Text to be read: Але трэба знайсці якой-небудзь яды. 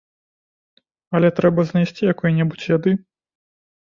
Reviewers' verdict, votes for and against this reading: accepted, 2, 0